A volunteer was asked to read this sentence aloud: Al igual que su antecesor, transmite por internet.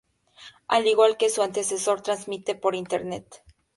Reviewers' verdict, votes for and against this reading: accepted, 2, 0